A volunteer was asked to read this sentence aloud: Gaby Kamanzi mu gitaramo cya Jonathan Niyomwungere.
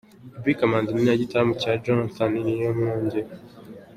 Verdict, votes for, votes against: accepted, 2, 0